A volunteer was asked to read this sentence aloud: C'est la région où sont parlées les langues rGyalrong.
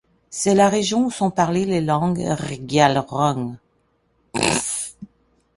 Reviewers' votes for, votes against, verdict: 1, 2, rejected